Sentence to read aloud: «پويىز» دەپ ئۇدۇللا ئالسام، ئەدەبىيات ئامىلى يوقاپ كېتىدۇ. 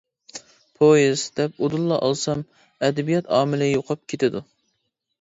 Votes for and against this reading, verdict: 2, 0, accepted